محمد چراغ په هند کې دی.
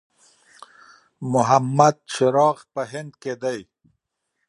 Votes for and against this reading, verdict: 2, 0, accepted